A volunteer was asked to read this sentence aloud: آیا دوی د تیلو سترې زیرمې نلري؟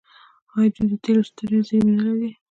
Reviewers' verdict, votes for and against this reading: rejected, 0, 2